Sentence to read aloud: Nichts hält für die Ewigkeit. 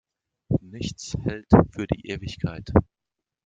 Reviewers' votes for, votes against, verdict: 2, 0, accepted